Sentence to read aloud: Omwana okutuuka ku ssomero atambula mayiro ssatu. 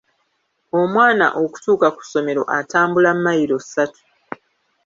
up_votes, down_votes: 0, 2